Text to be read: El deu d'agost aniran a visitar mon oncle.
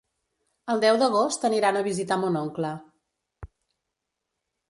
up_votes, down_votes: 3, 0